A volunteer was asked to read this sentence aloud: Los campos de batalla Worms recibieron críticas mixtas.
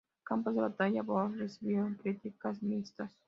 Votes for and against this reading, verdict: 2, 0, accepted